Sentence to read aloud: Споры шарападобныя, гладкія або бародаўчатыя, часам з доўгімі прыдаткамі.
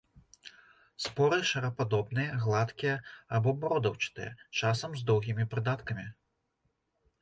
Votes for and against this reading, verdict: 2, 0, accepted